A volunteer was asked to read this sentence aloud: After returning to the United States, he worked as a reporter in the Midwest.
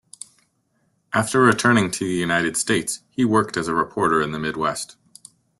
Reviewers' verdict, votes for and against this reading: accepted, 2, 0